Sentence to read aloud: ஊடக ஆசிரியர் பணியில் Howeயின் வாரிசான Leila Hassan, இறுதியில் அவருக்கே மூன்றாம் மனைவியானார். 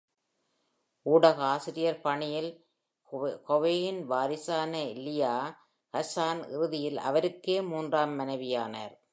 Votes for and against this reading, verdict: 1, 2, rejected